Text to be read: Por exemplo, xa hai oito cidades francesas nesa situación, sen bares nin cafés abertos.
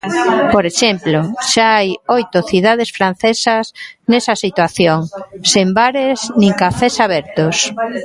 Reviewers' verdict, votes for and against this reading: accepted, 2, 1